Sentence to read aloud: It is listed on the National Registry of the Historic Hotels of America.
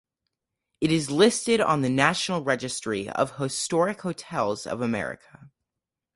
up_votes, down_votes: 4, 0